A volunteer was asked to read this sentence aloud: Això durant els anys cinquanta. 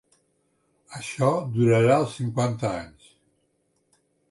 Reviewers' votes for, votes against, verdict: 0, 2, rejected